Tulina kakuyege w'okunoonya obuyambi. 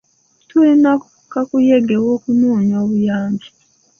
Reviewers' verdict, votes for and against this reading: accepted, 2, 0